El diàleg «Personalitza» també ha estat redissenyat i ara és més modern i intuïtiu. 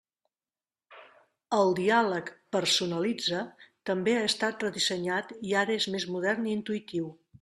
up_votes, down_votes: 2, 0